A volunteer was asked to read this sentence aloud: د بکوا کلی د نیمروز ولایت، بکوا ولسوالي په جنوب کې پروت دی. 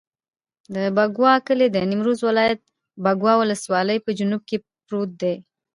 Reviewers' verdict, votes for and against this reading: accepted, 2, 0